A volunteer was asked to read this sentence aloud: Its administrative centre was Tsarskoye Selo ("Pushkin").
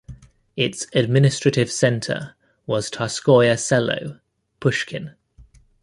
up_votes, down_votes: 2, 0